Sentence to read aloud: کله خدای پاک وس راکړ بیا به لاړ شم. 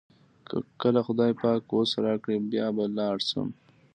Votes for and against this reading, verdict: 2, 0, accepted